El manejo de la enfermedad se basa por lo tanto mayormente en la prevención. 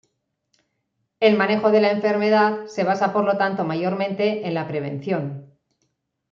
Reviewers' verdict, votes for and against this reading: accepted, 2, 1